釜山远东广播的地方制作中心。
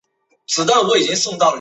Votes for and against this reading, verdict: 0, 2, rejected